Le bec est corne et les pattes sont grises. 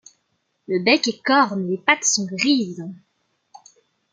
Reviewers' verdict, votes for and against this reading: accepted, 2, 1